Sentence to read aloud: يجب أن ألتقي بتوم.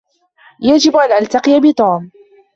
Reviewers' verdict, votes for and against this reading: accepted, 2, 0